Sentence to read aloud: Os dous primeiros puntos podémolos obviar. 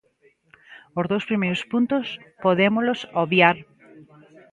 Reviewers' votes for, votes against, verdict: 1, 2, rejected